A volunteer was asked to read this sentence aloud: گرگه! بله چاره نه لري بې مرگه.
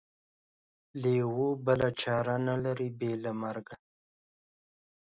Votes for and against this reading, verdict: 0, 2, rejected